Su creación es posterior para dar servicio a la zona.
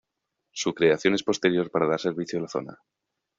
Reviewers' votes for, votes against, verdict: 2, 0, accepted